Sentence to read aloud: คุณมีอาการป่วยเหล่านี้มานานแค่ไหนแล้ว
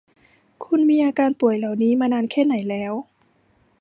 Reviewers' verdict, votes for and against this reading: accepted, 2, 0